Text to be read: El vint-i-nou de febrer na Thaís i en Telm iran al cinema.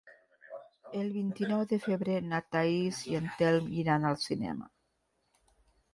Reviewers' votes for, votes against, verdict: 2, 0, accepted